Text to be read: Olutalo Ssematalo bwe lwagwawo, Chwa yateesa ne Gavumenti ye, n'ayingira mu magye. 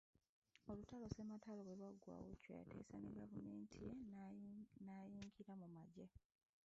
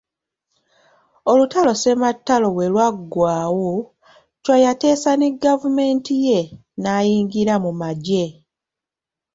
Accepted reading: second